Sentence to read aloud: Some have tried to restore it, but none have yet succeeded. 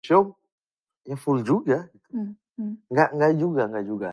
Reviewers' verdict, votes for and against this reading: rejected, 0, 2